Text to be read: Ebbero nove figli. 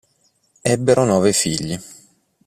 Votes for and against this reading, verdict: 2, 0, accepted